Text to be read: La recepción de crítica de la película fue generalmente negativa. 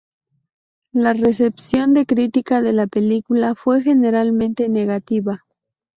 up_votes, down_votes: 2, 0